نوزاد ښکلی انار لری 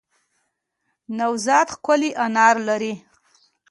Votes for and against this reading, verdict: 1, 2, rejected